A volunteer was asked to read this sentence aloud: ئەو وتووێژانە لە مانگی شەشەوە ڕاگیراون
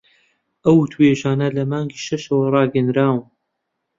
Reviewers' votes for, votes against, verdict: 0, 2, rejected